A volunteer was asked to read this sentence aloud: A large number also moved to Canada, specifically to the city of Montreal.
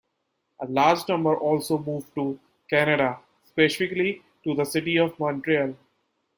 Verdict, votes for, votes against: accepted, 2, 1